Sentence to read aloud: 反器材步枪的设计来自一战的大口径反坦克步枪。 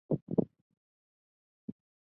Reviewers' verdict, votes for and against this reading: rejected, 1, 3